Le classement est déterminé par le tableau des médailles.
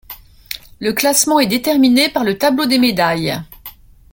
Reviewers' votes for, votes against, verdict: 2, 0, accepted